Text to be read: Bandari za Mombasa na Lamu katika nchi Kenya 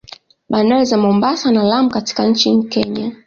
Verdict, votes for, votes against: accepted, 2, 0